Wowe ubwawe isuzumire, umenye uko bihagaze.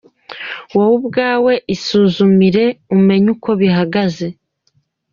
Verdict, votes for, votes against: accepted, 2, 1